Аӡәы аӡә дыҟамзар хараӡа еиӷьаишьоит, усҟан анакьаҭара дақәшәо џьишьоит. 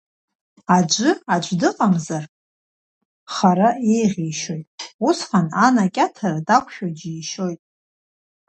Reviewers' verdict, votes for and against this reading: rejected, 0, 2